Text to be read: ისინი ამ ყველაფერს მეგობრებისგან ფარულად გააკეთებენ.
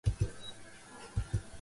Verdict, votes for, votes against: rejected, 0, 2